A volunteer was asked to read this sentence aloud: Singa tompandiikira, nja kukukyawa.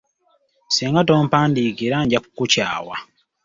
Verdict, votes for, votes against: rejected, 2, 3